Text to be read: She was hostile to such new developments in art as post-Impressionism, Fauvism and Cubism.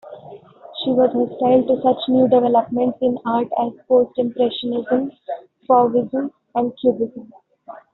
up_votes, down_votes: 1, 2